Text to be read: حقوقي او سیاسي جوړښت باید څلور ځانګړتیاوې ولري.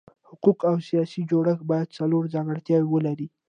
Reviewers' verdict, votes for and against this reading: accepted, 2, 0